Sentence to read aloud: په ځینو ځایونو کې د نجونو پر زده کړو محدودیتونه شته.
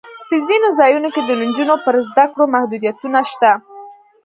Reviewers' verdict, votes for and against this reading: rejected, 1, 2